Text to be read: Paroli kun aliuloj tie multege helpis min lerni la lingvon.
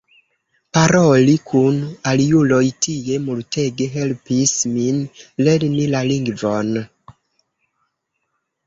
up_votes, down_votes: 1, 2